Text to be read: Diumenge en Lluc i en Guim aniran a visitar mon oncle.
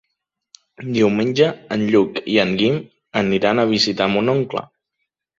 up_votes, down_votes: 3, 0